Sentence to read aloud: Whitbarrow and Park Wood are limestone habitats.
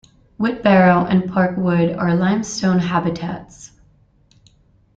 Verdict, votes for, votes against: accepted, 2, 0